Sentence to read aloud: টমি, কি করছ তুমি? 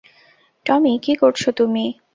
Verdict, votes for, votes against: accepted, 4, 0